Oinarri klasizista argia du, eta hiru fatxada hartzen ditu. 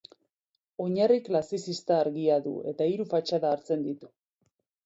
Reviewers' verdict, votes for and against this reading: accepted, 4, 0